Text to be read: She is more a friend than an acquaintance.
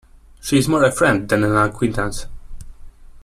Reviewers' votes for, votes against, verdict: 2, 0, accepted